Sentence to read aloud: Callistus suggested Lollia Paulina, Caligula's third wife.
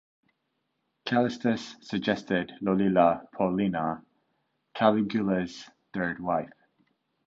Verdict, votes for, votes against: rejected, 1, 2